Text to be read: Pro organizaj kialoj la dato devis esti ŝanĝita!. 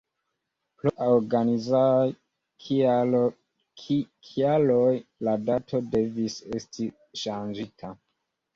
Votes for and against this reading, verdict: 2, 0, accepted